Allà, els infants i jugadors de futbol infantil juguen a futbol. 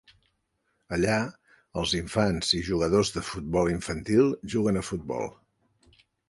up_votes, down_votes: 4, 0